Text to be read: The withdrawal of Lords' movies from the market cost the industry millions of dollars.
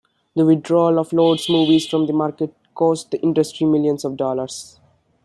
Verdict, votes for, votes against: rejected, 1, 2